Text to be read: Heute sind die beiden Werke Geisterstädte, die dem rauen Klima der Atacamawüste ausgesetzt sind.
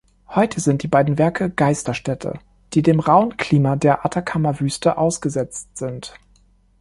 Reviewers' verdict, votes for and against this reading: accepted, 2, 1